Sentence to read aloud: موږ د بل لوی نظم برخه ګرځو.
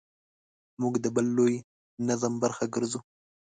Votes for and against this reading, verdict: 2, 0, accepted